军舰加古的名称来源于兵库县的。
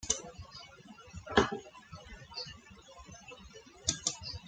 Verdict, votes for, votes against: rejected, 0, 2